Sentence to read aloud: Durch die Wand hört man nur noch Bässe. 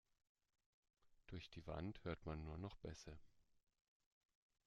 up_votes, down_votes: 2, 0